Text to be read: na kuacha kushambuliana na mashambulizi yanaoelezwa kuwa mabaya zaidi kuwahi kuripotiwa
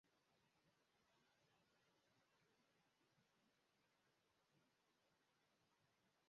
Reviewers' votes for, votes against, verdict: 3, 14, rejected